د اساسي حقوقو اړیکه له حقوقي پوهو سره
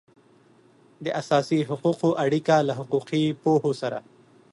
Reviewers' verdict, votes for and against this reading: accepted, 2, 0